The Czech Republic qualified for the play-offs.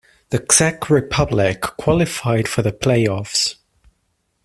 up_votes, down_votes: 2, 1